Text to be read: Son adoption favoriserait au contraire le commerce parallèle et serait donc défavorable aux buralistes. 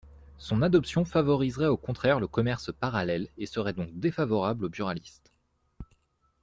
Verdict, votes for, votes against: accepted, 2, 0